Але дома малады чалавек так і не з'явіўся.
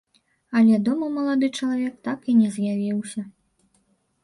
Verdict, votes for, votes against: accepted, 2, 1